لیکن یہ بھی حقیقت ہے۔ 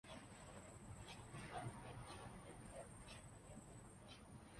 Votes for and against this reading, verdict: 1, 2, rejected